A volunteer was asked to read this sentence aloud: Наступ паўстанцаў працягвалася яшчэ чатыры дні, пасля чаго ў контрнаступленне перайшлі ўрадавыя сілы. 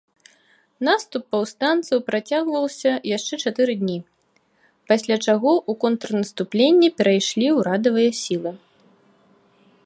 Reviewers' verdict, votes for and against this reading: rejected, 1, 2